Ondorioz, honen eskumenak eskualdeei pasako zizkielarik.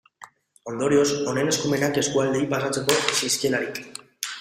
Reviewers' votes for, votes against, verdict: 1, 3, rejected